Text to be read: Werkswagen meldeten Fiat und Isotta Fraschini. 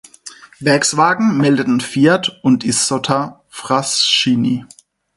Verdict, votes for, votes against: rejected, 0, 4